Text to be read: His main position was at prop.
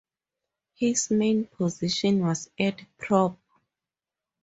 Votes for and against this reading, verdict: 2, 2, rejected